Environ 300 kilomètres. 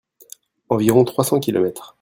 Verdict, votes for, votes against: rejected, 0, 2